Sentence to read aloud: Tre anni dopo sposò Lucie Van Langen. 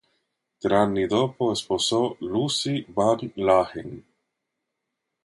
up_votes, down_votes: 2, 0